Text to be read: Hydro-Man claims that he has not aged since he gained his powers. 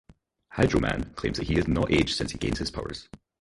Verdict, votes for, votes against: rejected, 0, 2